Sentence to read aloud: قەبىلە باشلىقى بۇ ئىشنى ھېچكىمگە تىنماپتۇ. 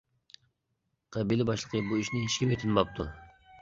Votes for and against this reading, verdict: 2, 1, accepted